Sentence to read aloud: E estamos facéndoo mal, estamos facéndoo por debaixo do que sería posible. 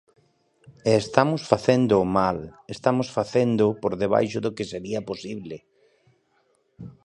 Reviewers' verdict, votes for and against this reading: accepted, 2, 0